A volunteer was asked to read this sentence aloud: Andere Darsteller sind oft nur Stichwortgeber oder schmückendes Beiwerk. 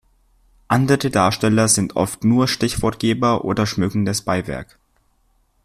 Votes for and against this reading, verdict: 1, 2, rejected